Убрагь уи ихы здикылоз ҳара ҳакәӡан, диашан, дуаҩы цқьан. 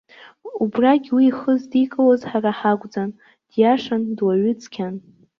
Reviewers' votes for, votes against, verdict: 2, 0, accepted